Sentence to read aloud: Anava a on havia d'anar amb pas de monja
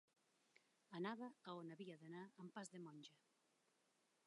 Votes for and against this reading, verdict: 1, 2, rejected